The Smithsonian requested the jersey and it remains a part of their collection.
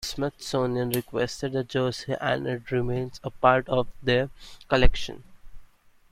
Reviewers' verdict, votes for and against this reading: rejected, 0, 2